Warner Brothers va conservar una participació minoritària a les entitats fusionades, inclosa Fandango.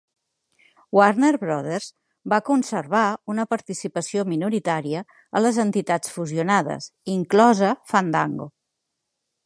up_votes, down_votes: 3, 0